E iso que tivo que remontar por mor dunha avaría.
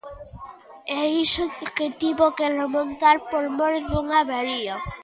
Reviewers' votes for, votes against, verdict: 1, 2, rejected